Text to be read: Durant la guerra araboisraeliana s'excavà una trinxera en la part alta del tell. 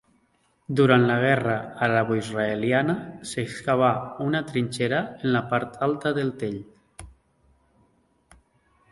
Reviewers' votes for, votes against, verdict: 2, 1, accepted